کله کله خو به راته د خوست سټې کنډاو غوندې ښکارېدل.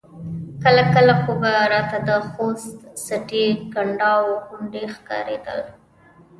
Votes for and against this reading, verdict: 1, 2, rejected